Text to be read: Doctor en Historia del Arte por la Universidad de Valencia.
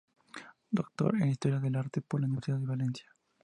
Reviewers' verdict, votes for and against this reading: accepted, 2, 0